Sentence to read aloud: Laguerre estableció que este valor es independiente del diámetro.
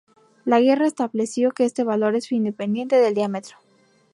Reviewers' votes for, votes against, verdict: 2, 0, accepted